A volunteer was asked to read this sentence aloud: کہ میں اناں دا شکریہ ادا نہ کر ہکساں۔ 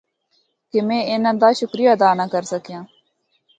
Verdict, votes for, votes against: rejected, 0, 2